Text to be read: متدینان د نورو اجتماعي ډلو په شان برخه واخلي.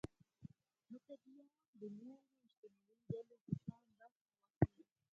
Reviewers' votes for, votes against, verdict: 0, 4, rejected